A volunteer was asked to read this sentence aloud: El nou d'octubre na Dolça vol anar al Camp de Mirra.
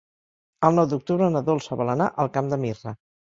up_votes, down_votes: 2, 0